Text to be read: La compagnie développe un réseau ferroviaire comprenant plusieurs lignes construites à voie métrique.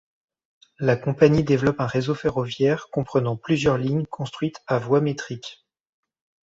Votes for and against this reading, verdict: 2, 0, accepted